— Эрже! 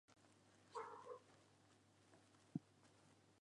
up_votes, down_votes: 1, 2